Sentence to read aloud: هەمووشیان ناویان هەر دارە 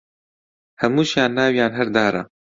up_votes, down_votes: 2, 0